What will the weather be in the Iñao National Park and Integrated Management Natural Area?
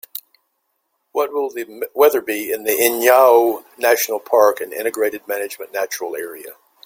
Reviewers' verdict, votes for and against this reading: accepted, 2, 1